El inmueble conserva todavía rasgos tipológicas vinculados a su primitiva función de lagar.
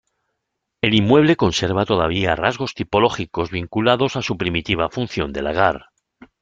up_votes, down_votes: 1, 2